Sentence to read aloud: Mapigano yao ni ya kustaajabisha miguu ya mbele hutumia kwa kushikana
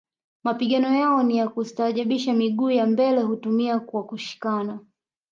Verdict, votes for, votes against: rejected, 1, 2